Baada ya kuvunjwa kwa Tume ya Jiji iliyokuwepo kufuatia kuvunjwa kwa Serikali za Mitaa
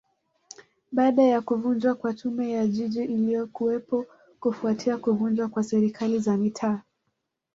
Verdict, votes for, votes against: accepted, 2, 0